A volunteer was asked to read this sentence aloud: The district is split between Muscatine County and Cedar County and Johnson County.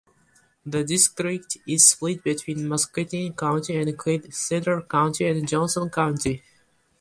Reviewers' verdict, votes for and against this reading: rejected, 0, 2